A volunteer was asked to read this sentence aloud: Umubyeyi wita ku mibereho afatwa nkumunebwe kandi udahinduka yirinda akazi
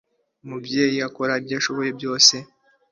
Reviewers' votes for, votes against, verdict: 0, 2, rejected